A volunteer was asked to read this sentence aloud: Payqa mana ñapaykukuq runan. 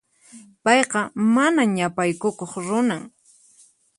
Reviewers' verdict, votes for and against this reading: accepted, 4, 0